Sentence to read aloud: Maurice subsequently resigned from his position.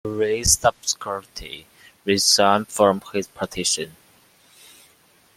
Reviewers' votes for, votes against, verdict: 1, 2, rejected